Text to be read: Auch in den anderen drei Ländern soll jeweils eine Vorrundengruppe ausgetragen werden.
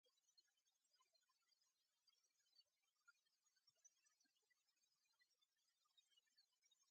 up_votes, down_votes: 0, 2